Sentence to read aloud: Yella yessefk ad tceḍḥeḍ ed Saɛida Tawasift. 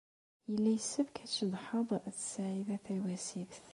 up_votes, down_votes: 0, 2